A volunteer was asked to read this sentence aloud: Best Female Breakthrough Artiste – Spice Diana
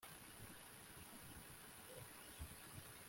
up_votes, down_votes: 1, 2